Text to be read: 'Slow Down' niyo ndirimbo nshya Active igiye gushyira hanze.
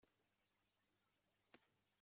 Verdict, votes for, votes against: rejected, 0, 2